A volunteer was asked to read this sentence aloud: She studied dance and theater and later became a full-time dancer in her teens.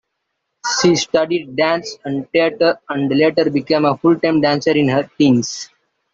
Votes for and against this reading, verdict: 2, 0, accepted